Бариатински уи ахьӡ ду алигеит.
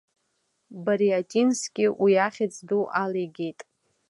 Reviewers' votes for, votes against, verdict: 2, 0, accepted